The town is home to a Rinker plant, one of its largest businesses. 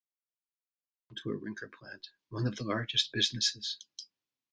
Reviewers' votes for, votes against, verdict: 0, 2, rejected